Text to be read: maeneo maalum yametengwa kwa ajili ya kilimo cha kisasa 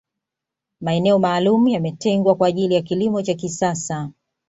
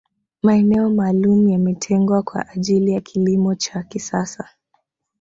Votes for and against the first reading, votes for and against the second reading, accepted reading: 2, 0, 1, 2, first